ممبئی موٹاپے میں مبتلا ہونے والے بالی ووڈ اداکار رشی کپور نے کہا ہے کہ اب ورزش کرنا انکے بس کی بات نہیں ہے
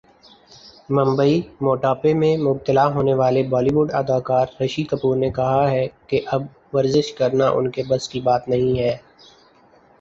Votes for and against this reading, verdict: 4, 0, accepted